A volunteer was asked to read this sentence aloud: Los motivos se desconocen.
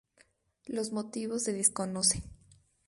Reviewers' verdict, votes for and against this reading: rejected, 0, 2